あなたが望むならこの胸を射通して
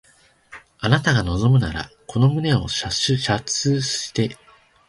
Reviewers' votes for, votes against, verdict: 1, 2, rejected